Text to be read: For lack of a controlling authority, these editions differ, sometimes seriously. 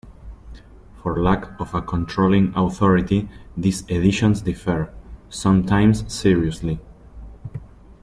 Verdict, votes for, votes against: accepted, 2, 0